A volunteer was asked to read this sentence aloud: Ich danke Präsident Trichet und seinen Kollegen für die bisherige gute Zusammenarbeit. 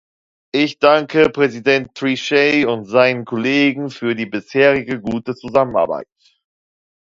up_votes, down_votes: 2, 0